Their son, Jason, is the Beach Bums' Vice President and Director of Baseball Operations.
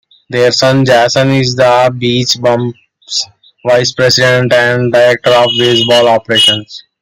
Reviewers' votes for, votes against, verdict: 1, 2, rejected